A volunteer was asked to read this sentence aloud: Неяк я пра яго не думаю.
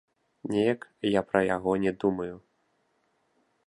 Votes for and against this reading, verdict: 2, 0, accepted